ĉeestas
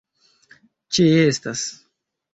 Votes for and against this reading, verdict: 2, 1, accepted